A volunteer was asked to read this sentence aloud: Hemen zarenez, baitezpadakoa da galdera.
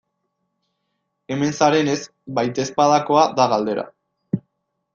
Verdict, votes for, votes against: accepted, 2, 0